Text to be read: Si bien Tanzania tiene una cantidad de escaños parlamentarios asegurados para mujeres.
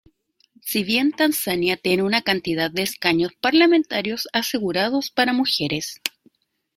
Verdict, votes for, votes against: accepted, 2, 0